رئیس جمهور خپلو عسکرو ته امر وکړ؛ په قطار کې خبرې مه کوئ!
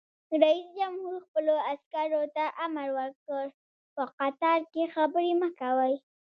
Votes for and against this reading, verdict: 1, 2, rejected